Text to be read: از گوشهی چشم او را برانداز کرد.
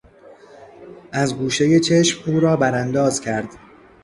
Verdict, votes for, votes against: accepted, 2, 0